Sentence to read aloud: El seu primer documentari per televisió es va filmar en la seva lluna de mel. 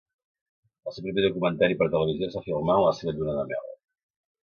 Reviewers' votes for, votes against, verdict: 0, 2, rejected